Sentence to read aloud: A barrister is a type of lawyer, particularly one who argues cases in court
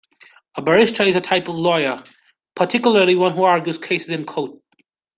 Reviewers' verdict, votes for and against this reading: accepted, 2, 1